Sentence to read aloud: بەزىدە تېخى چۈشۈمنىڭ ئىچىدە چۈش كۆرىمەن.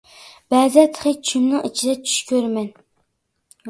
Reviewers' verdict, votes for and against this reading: accepted, 2, 1